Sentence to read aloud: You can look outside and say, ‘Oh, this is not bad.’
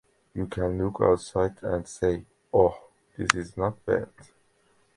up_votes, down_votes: 3, 0